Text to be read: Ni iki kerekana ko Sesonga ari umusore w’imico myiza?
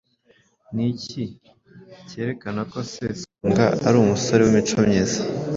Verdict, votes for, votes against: accepted, 2, 0